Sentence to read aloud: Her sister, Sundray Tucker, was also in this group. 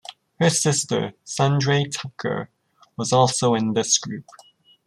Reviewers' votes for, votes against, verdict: 2, 0, accepted